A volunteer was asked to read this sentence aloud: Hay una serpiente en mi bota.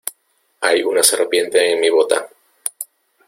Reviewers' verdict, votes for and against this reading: accepted, 2, 0